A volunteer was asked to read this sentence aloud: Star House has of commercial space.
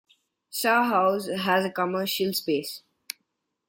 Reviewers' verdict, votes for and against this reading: rejected, 0, 2